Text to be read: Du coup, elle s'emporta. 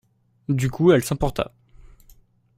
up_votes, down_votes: 2, 0